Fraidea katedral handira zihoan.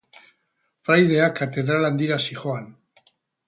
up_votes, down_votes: 2, 0